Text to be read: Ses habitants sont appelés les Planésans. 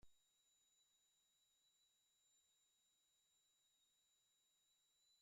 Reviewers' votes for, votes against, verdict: 1, 2, rejected